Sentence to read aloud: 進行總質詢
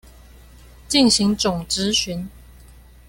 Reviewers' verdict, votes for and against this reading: rejected, 1, 2